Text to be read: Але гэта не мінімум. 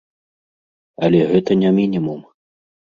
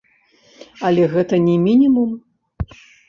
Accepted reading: first